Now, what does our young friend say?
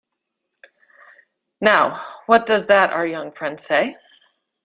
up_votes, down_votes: 1, 2